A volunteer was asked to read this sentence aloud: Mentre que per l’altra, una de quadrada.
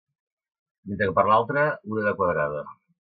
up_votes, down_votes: 0, 2